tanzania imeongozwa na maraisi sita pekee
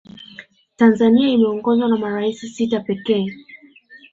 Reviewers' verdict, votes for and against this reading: rejected, 0, 2